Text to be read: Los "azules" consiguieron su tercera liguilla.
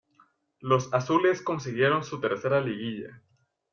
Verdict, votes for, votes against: accepted, 2, 0